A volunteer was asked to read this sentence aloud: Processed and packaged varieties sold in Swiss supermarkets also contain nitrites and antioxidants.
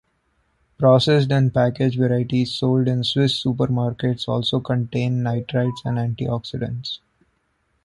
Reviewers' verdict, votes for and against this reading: accepted, 2, 0